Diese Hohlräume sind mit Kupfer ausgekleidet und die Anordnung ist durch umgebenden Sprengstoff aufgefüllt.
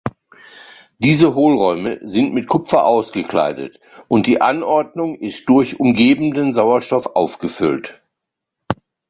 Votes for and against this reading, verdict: 1, 2, rejected